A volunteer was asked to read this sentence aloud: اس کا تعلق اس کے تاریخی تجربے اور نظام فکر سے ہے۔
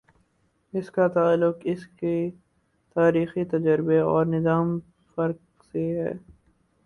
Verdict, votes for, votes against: rejected, 2, 4